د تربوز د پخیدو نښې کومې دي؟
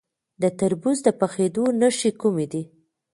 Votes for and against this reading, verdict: 2, 0, accepted